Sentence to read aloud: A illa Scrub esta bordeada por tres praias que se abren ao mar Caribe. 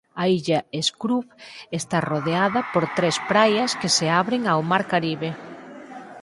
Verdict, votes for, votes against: rejected, 0, 4